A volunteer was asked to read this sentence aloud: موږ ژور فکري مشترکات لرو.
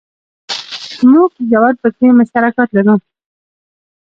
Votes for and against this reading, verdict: 2, 0, accepted